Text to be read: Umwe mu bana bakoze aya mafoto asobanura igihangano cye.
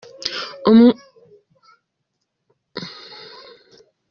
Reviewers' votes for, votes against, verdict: 0, 2, rejected